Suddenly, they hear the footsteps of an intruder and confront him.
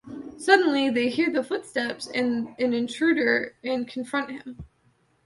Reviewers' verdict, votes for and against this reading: rejected, 1, 2